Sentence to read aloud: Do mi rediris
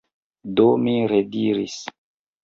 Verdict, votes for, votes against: accepted, 2, 1